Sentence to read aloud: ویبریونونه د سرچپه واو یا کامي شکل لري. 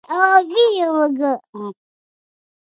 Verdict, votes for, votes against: rejected, 1, 2